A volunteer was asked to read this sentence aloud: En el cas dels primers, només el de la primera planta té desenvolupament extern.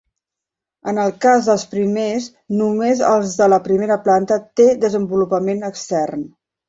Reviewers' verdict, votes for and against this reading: rejected, 1, 2